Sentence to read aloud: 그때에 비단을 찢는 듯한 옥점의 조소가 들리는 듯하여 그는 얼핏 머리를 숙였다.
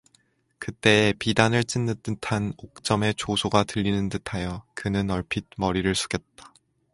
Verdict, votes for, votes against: accepted, 4, 0